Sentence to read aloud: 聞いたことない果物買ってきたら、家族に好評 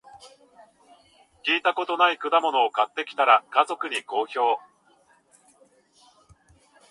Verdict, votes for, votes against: rejected, 1, 2